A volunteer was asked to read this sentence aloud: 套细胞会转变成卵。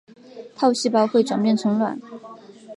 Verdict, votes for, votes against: accepted, 2, 0